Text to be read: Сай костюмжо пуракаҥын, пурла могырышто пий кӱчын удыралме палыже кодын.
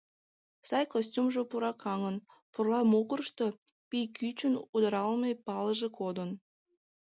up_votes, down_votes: 2, 0